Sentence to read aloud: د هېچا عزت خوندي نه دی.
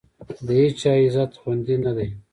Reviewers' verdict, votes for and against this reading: accepted, 2, 0